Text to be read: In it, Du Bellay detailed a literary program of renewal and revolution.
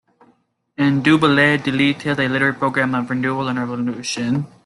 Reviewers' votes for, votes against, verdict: 1, 2, rejected